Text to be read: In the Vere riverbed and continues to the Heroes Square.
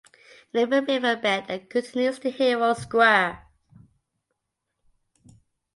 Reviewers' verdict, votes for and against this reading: rejected, 0, 2